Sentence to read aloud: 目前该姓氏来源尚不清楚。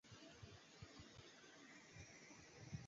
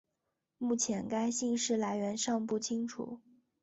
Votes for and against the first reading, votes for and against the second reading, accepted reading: 0, 6, 2, 0, second